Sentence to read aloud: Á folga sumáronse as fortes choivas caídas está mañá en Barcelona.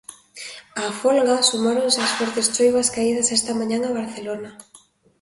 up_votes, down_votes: 2, 1